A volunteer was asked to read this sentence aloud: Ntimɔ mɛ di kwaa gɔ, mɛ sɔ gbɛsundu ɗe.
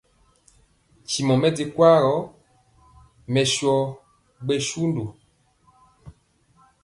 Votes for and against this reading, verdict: 2, 0, accepted